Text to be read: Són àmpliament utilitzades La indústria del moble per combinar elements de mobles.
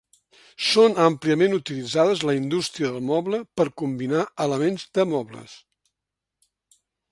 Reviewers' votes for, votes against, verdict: 4, 0, accepted